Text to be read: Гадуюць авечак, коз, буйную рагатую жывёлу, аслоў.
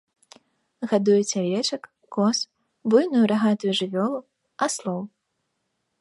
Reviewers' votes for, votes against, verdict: 1, 2, rejected